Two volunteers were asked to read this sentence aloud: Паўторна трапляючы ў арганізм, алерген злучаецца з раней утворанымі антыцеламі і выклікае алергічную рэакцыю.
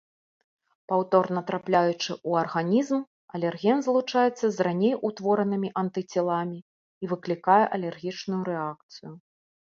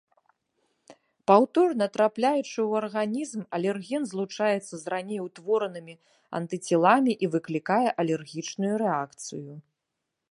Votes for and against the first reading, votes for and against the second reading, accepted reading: 2, 1, 1, 2, first